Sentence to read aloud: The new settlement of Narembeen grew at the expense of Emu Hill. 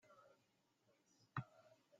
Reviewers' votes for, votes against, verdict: 0, 2, rejected